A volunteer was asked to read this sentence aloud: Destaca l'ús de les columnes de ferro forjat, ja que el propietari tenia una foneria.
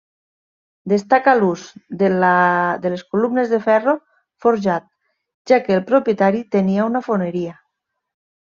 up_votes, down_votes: 0, 2